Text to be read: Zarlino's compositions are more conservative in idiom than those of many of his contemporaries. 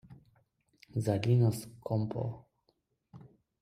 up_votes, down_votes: 0, 2